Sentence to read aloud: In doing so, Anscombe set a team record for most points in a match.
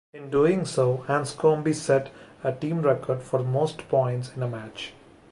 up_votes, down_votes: 2, 0